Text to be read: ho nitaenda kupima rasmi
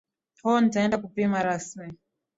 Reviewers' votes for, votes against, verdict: 3, 0, accepted